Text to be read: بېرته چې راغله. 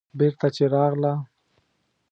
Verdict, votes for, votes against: accepted, 2, 0